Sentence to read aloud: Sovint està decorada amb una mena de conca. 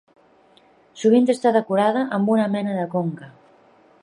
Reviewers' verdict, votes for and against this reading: accepted, 3, 0